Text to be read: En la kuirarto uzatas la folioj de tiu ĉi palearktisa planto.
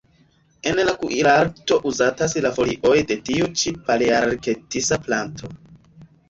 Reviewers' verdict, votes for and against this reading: rejected, 0, 2